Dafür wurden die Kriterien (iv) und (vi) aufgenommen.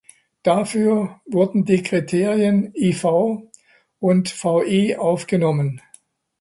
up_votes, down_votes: 1, 2